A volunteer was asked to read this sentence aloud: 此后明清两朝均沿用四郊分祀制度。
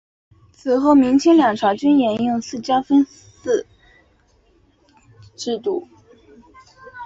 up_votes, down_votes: 2, 0